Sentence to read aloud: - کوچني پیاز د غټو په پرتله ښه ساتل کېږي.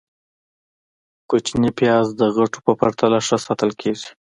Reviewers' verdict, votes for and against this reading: accepted, 2, 0